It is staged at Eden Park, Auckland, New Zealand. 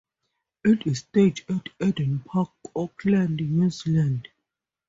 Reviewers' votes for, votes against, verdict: 4, 0, accepted